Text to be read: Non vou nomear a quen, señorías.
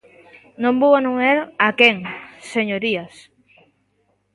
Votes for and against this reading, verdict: 0, 3, rejected